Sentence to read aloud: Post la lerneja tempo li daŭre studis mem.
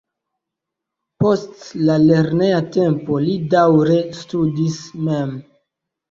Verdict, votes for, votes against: accepted, 2, 0